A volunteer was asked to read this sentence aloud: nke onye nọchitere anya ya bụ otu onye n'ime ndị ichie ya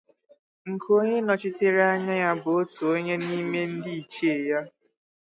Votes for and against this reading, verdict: 2, 0, accepted